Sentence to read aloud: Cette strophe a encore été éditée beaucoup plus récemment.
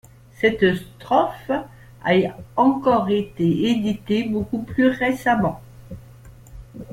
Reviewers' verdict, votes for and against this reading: rejected, 1, 2